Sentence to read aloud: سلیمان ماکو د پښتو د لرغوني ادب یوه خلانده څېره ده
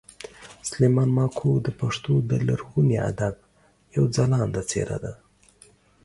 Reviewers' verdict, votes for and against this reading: accepted, 2, 0